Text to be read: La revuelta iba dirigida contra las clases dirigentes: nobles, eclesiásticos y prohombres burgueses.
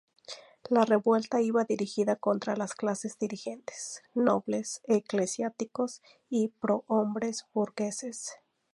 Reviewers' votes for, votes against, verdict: 0, 2, rejected